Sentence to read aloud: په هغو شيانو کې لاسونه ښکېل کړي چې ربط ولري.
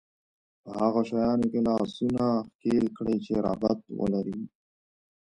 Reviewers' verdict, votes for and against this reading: rejected, 0, 2